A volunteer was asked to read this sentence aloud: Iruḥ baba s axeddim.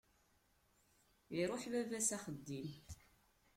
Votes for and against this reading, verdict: 0, 2, rejected